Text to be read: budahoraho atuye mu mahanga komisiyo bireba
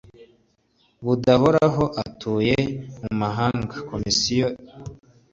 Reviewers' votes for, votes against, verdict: 2, 0, accepted